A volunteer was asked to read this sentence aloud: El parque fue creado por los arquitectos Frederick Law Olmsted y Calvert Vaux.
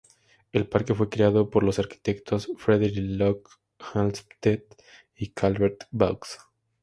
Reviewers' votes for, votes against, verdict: 0, 2, rejected